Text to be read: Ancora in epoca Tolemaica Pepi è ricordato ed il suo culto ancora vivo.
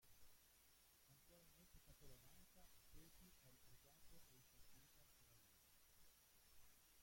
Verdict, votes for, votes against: rejected, 0, 2